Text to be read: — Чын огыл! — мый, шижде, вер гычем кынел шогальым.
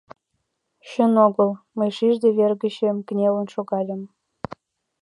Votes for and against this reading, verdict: 0, 2, rejected